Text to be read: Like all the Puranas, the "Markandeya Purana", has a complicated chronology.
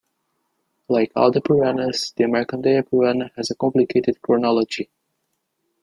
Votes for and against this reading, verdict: 2, 1, accepted